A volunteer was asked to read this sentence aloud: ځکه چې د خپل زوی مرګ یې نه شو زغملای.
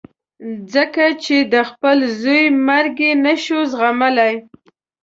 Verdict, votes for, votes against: accepted, 2, 0